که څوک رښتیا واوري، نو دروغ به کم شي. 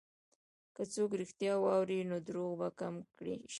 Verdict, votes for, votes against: rejected, 0, 2